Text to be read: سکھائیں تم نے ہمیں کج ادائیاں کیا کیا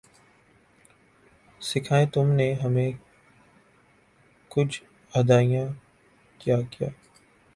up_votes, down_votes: 3, 0